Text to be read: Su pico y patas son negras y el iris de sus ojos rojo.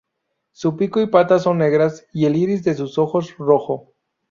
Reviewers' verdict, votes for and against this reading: rejected, 2, 2